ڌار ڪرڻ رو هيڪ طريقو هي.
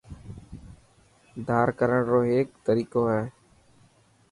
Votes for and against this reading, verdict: 2, 0, accepted